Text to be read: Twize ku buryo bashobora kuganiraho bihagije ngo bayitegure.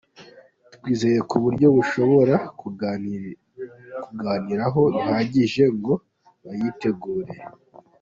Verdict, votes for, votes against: rejected, 0, 2